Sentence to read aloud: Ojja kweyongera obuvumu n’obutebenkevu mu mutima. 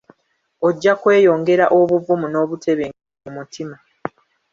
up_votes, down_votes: 0, 2